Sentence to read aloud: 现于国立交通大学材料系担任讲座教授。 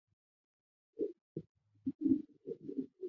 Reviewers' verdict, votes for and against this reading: rejected, 0, 2